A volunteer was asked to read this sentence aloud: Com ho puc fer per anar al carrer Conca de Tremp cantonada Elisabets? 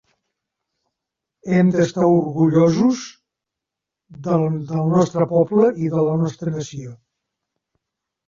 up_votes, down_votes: 0, 3